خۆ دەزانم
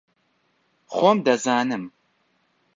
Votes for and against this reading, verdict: 0, 2, rejected